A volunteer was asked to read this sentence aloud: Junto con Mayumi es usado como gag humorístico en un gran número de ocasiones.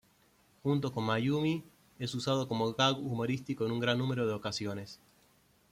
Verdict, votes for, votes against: accepted, 2, 0